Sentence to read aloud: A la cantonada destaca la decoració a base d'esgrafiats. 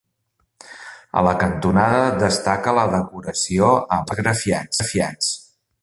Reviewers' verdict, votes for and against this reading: rejected, 1, 2